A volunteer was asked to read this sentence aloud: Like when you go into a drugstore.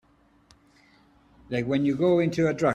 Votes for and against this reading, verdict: 0, 2, rejected